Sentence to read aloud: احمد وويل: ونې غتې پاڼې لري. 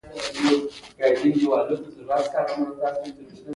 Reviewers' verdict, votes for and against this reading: accepted, 2, 0